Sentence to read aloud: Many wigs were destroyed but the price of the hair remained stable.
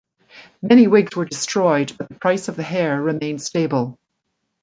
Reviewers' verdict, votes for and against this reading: rejected, 1, 2